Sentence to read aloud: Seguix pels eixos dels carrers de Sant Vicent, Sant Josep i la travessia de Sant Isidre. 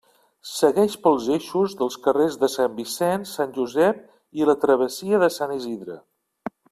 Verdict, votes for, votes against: rejected, 1, 2